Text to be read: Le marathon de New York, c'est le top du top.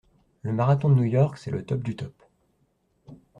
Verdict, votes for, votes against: accepted, 2, 0